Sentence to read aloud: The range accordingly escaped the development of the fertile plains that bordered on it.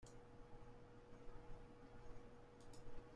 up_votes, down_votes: 0, 2